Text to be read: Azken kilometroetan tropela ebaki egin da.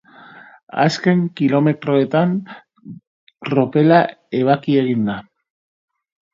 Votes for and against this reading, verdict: 3, 1, accepted